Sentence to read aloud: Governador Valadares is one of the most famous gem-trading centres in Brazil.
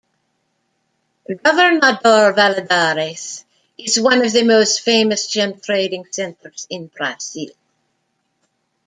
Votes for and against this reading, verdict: 0, 2, rejected